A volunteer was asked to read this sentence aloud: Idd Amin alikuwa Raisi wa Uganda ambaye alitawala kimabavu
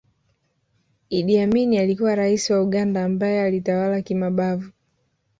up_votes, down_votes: 1, 2